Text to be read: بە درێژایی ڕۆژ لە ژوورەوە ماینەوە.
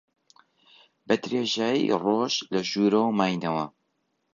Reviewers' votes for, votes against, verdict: 2, 0, accepted